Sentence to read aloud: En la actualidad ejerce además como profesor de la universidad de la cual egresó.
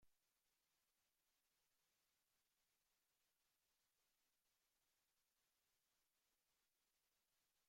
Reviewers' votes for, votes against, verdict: 0, 2, rejected